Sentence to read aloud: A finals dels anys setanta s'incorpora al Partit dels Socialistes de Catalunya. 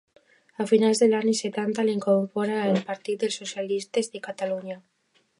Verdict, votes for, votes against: rejected, 0, 2